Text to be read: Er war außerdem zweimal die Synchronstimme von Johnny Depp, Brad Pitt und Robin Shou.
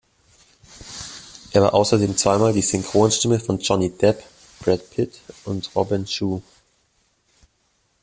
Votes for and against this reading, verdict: 3, 1, accepted